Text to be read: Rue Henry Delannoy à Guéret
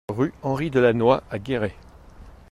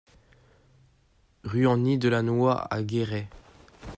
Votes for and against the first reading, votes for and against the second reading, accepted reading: 2, 0, 0, 2, first